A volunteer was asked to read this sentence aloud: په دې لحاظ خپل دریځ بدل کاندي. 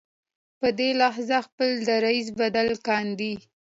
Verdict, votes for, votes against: accepted, 2, 0